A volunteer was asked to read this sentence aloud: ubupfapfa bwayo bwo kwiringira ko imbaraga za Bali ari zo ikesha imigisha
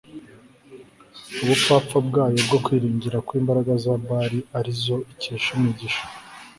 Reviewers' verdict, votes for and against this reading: accepted, 4, 0